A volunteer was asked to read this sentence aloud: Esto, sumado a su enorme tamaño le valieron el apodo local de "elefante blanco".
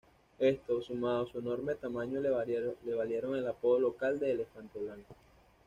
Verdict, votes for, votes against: rejected, 1, 2